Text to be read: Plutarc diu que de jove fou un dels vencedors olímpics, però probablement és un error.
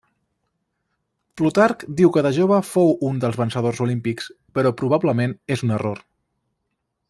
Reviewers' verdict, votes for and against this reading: accepted, 2, 0